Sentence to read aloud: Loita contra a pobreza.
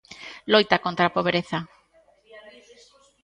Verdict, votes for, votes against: accepted, 2, 1